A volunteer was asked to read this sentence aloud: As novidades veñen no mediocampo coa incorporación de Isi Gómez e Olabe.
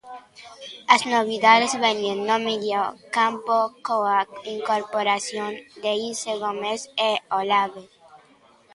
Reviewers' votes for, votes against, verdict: 2, 0, accepted